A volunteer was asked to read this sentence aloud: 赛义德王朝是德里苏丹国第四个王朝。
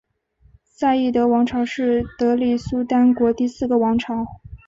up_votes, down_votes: 5, 0